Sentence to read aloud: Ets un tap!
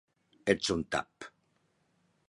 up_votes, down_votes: 3, 0